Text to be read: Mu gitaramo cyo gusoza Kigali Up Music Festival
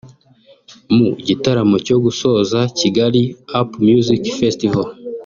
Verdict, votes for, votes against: accepted, 2, 0